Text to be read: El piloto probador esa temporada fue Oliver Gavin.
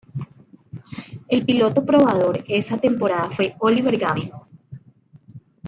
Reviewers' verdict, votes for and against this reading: accepted, 2, 0